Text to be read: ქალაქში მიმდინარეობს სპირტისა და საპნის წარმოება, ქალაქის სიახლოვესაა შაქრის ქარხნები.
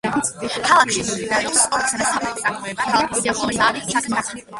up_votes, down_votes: 0, 2